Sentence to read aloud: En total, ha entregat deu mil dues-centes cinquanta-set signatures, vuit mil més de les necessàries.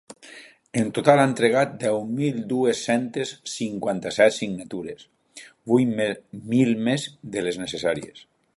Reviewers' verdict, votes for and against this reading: rejected, 0, 2